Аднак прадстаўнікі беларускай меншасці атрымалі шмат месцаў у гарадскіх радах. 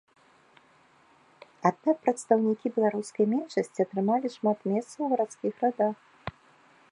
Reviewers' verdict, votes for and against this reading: rejected, 0, 2